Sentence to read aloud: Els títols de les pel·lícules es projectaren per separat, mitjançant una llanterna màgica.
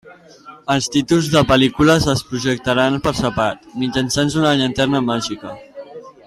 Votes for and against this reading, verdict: 0, 2, rejected